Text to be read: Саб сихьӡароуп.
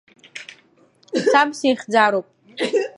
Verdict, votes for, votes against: rejected, 0, 2